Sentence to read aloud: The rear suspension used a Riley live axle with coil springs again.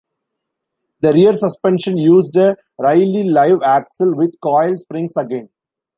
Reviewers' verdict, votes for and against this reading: rejected, 1, 2